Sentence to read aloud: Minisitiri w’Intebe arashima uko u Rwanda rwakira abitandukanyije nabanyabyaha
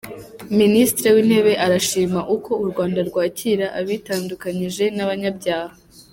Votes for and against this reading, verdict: 0, 2, rejected